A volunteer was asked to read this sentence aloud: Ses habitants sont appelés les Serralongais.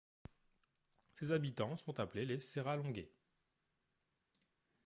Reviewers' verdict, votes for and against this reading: rejected, 1, 2